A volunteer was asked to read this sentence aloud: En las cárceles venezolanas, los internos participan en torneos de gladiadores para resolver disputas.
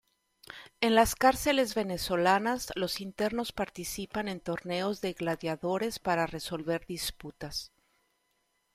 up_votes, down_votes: 2, 0